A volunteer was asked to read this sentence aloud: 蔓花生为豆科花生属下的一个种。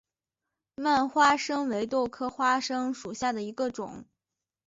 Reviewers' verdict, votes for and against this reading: accepted, 2, 0